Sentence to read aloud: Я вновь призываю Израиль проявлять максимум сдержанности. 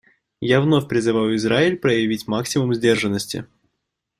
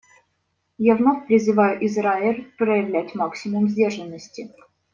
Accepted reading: second